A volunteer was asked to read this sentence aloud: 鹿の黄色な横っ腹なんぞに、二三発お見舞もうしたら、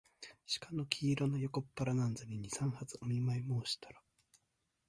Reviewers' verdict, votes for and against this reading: accepted, 2, 0